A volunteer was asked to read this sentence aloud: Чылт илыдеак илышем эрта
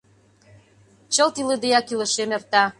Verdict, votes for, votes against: accepted, 2, 0